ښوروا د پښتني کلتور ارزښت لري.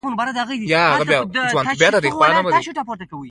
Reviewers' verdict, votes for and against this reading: rejected, 0, 2